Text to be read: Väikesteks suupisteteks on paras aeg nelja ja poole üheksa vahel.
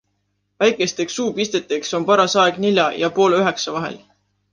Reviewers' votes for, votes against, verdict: 2, 0, accepted